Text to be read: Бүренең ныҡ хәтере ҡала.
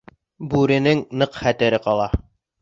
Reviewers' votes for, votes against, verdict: 2, 0, accepted